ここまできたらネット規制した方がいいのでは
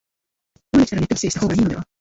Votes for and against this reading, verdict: 1, 2, rejected